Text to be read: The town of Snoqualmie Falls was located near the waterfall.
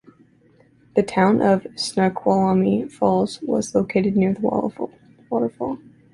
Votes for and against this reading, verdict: 1, 2, rejected